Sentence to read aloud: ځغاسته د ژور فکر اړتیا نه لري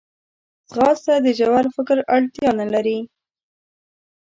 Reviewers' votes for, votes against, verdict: 2, 0, accepted